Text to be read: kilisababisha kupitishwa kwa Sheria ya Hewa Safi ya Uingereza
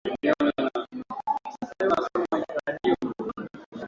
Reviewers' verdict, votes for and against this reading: rejected, 0, 2